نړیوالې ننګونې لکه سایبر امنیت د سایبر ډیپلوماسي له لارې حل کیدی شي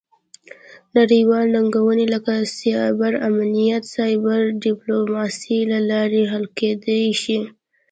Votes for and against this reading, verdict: 2, 0, accepted